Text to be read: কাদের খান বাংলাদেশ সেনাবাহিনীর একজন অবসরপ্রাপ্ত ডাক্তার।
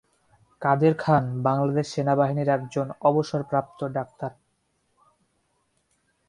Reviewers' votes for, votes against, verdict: 2, 0, accepted